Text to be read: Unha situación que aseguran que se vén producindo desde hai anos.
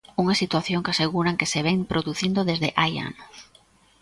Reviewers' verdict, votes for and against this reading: accepted, 2, 0